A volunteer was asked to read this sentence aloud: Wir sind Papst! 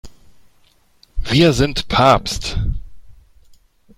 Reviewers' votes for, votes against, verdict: 2, 0, accepted